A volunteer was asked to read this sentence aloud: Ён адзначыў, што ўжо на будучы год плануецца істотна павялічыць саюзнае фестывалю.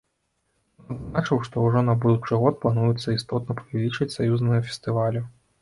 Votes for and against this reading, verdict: 0, 2, rejected